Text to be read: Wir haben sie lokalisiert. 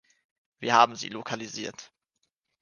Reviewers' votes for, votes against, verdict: 1, 2, rejected